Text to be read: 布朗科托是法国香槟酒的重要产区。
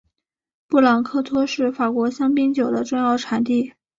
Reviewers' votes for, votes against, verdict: 2, 0, accepted